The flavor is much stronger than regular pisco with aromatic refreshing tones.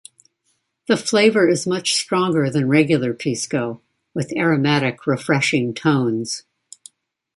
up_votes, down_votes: 2, 1